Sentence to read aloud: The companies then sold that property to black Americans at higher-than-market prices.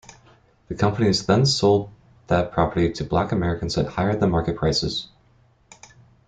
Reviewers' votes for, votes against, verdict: 2, 0, accepted